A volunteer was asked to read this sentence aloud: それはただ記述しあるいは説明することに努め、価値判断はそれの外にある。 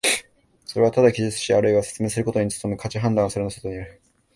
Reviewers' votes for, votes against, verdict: 1, 2, rejected